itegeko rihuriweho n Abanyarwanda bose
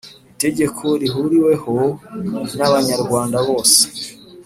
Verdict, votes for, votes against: accepted, 3, 0